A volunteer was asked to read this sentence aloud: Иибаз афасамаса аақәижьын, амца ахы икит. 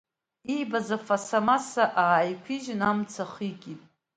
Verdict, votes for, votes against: rejected, 0, 2